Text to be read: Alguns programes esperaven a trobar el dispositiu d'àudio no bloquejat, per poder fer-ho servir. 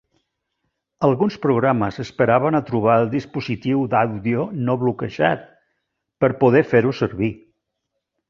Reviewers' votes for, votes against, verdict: 0, 2, rejected